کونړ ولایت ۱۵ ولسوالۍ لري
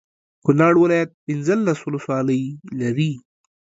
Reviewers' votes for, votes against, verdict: 0, 2, rejected